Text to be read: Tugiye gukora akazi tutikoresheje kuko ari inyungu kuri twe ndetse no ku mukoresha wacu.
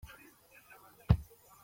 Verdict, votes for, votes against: rejected, 0, 2